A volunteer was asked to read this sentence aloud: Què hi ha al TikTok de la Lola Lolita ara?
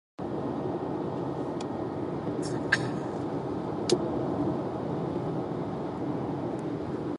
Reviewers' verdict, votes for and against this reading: rejected, 0, 2